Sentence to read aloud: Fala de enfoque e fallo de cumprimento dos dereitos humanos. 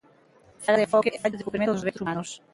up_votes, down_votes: 0, 2